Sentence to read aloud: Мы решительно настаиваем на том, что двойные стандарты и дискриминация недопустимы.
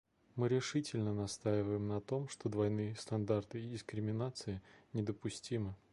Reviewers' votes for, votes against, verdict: 2, 0, accepted